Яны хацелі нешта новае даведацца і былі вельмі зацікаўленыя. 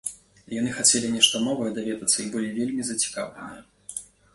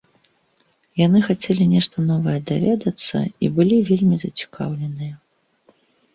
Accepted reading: second